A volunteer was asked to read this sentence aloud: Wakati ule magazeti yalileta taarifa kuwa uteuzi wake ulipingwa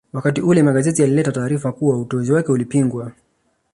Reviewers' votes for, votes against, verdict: 2, 0, accepted